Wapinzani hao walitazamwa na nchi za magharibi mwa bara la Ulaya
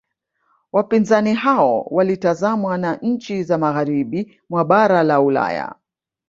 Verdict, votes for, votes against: rejected, 1, 2